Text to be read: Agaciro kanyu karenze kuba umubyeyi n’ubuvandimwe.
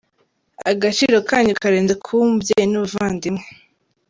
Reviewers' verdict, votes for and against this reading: accepted, 4, 0